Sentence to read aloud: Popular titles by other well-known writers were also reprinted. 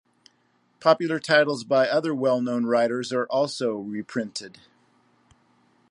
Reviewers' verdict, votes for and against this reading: rejected, 0, 2